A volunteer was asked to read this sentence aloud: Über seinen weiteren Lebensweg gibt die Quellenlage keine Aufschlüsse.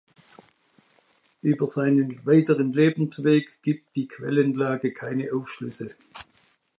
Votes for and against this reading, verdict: 2, 0, accepted